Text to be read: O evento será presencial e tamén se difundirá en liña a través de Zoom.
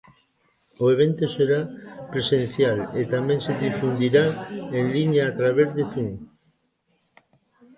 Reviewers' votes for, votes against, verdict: 2, 0, accepted